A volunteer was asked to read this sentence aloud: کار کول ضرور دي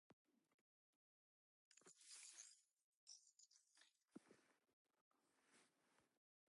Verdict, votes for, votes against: rejected, 1, 2